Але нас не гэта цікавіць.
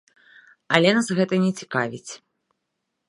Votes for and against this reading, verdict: 3, 0, accepted